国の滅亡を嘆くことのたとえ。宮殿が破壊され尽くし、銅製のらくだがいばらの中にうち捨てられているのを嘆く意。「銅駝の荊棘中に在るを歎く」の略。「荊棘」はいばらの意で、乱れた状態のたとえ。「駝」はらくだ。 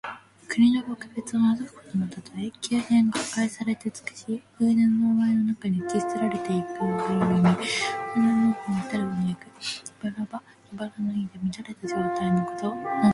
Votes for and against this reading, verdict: 0, 2, rejected